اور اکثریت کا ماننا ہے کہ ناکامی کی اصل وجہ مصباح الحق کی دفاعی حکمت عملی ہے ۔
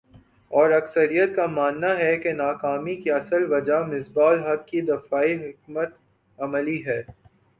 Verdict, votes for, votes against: accepted, 2, 0